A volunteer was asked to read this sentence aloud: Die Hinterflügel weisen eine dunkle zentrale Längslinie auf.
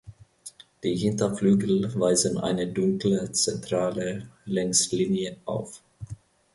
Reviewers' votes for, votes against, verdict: 2, 0, accepted